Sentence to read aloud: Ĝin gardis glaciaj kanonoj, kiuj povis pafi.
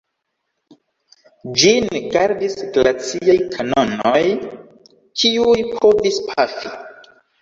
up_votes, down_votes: 1, 2